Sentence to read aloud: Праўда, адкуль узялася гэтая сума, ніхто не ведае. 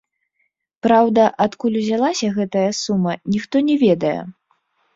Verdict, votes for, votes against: rejected, 1, 2